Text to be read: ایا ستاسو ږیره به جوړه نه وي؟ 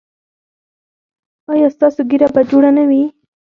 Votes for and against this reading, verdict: 0, 4, rejected